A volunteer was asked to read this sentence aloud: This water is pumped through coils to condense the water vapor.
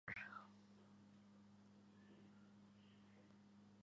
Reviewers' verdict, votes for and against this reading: rejected, 0, 2